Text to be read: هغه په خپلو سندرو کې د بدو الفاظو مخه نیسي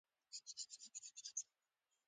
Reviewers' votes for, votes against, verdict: 0, 2, rejected